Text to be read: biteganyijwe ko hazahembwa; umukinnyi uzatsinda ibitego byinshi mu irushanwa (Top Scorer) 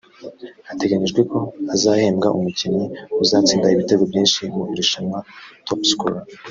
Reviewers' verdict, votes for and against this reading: rejected, 1, 2